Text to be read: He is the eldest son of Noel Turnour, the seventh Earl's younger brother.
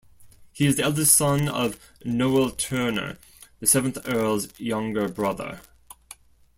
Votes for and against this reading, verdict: 2, 0, accepted